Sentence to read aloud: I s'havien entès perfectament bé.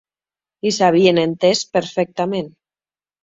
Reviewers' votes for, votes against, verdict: 0, 2, rejected